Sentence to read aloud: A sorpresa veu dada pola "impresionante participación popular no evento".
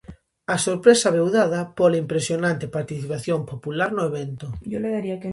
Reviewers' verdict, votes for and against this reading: rejected, 0, 2